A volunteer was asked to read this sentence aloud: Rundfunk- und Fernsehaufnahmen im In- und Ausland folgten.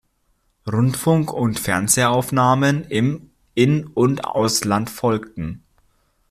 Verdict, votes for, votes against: accepted, 2, 0